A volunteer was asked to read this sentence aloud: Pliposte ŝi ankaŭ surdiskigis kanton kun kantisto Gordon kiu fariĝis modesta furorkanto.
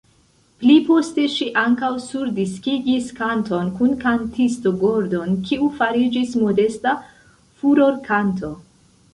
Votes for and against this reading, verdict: 1, 2, rejected